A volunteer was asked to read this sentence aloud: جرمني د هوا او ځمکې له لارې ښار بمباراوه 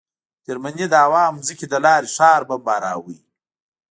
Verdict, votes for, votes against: accepted, 3, 0